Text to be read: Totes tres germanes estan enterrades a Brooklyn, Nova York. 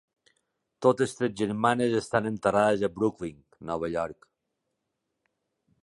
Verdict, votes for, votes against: accepted, 2, 0